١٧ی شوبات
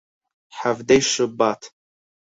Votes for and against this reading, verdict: 0, 2, rejected